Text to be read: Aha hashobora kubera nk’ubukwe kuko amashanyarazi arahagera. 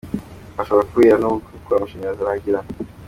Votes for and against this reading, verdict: 2, 1, accepted